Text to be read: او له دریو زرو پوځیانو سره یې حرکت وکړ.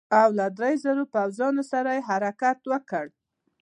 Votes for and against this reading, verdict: 2, 0, accepted